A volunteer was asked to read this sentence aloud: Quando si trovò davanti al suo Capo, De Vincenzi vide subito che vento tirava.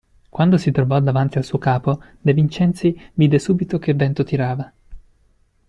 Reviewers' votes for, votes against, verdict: 2, 0, accepted